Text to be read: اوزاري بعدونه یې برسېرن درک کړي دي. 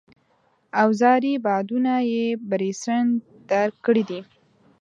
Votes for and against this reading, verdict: 0, 2, rejected